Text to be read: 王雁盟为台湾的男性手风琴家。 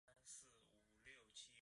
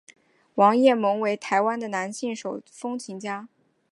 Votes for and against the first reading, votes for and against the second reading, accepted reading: 0, 2, 3, 0, second